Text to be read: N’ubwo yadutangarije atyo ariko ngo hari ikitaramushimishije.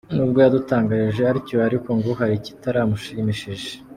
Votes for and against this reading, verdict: 2, 0, accepted